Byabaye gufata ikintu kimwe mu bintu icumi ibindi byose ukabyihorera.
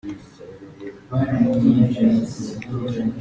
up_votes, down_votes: 0, 2